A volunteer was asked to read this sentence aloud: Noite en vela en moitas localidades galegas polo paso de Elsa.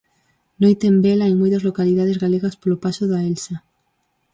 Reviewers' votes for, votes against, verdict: 0, 4, rejected